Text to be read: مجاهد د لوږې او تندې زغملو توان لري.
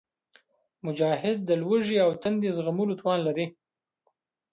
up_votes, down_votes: 2, 0